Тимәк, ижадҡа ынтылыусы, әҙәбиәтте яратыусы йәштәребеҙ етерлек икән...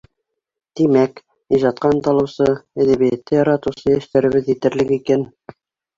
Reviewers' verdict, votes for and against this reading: rejected, 0, 2